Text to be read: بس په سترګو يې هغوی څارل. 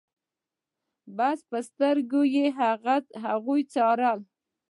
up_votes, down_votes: 1, 2